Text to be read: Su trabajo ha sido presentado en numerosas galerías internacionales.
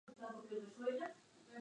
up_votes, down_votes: 0, 4